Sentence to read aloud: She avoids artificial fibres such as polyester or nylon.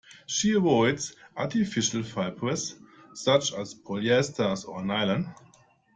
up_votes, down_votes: 1, 2